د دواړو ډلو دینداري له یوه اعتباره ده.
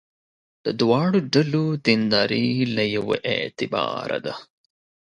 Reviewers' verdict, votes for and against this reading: accepted, 2, 0